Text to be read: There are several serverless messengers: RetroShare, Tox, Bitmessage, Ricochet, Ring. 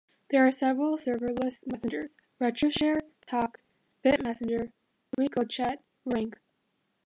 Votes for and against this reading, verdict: 0, 2, rejected